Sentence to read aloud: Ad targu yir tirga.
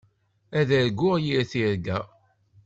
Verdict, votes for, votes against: rejected, 1, 2